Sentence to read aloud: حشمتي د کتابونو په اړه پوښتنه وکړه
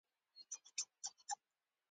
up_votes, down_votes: 0, 2